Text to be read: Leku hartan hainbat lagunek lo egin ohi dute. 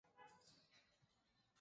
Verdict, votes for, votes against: rejected, 0, 2